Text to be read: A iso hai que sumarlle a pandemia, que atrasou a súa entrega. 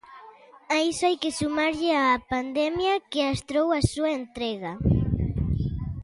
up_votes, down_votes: 0, 2